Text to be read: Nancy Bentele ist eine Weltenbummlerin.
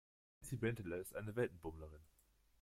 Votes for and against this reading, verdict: 0, 2, rejected